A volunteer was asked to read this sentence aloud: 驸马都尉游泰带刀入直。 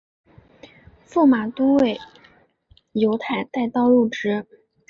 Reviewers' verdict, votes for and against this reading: accepted, 2, 0